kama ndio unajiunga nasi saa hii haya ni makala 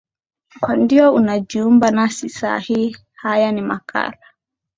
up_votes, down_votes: 3, 0